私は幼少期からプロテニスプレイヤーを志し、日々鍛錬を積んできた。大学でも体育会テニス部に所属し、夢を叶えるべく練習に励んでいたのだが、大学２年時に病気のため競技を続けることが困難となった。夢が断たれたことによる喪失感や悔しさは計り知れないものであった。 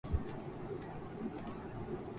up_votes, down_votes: 0, 2